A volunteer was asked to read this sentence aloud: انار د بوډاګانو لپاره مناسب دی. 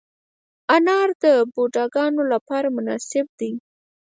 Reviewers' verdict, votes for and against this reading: rejected, 0, 4